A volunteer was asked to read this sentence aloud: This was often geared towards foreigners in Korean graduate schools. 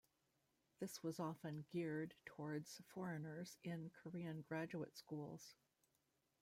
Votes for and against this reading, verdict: 1, 2, rejected